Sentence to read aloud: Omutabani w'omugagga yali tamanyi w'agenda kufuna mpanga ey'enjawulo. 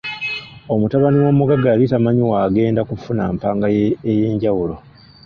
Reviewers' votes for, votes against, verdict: 1, 2, rejected